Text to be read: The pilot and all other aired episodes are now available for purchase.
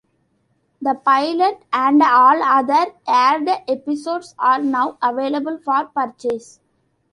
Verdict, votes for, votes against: accepted, 2, 0